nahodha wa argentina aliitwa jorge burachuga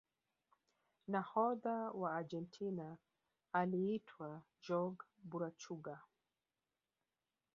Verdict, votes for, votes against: accepted, 2, 0